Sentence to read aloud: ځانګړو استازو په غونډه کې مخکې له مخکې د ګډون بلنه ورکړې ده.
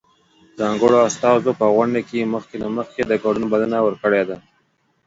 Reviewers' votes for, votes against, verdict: 2, 0, accepted